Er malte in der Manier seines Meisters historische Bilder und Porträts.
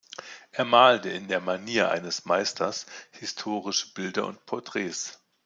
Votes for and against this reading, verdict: 0, 2, rejected